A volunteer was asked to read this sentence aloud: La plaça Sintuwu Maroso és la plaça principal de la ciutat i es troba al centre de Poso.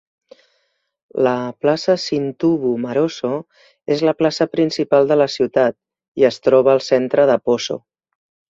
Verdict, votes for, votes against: accepted, 2, 0